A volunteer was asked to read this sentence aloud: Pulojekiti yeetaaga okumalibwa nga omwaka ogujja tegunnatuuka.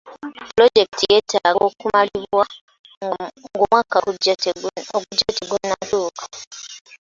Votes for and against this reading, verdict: 0, 2, rejected